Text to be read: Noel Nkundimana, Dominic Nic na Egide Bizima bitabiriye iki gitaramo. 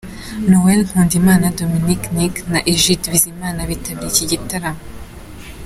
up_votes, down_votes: 2, 0